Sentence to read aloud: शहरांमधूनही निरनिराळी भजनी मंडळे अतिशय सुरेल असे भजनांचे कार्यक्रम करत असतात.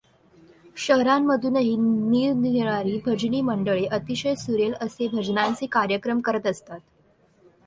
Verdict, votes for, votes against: accepted, 2, 0